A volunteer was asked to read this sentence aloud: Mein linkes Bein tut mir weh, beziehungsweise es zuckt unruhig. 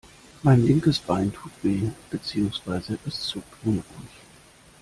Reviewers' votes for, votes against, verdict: 1, 2, rejected